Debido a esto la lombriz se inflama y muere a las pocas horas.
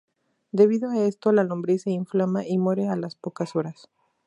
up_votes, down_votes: 2, 0